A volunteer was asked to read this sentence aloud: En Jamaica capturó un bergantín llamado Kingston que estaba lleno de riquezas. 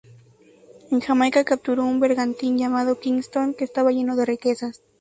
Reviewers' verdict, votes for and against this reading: rejected, 2, 2